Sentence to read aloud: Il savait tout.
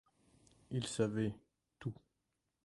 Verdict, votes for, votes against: rejected, 1, 2